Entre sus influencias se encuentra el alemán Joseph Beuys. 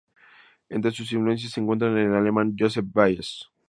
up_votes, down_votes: 2, 2